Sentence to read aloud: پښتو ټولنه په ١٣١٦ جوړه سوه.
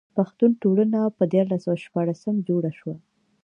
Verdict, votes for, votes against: rejected, 0, 2